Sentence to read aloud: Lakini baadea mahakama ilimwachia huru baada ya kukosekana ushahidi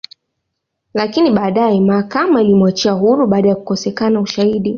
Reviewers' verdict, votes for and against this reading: rejected, 0, 2